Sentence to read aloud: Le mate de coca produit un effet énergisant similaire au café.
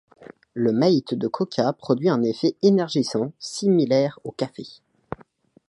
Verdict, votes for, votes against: rejected, 1, 2